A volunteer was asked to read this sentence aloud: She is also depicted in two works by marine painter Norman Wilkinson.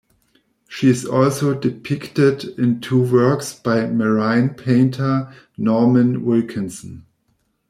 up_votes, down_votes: 1, 2